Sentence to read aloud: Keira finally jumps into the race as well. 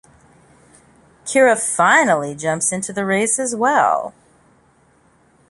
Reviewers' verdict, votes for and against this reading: accepted, 2, 0